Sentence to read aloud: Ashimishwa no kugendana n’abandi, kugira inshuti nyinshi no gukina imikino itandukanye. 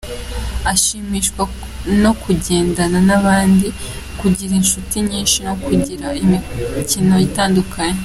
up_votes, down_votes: 1, 2